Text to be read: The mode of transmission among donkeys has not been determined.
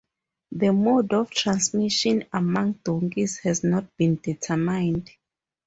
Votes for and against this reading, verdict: 2, 0, accepted